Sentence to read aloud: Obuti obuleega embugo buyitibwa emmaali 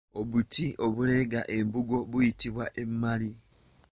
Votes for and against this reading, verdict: 0, 2, rejected